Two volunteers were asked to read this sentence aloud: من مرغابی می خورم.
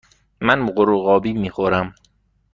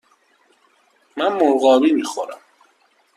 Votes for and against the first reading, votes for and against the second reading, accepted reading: 1, 2, 2, 0, second